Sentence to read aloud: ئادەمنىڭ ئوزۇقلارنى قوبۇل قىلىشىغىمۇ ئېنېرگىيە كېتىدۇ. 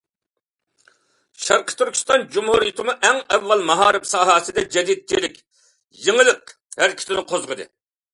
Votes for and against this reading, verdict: 0, 2, rejected